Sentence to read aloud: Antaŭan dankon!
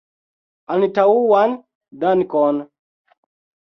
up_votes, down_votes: 1, 2